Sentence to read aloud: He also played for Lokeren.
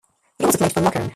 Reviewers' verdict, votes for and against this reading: rejected, 0, 2